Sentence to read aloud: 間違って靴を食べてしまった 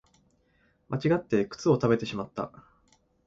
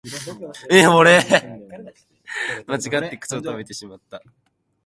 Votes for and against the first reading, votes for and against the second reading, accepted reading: 3, 0, 0, 2, first